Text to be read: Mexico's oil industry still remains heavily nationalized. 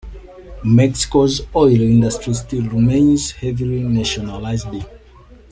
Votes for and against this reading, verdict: 2, 0, accepted